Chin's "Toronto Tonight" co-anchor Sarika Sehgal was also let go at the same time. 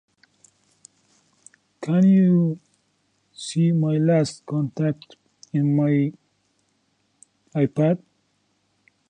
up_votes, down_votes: 0, 2